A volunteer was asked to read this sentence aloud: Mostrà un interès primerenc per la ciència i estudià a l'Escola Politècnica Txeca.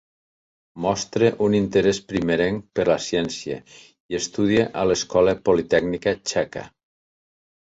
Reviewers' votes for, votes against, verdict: 1, 2, rejected